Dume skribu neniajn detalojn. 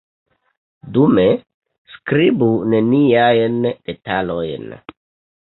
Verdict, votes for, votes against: rejected, 1, 2